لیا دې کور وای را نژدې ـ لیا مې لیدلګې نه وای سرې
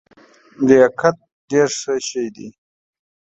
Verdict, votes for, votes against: rejected, 0, 2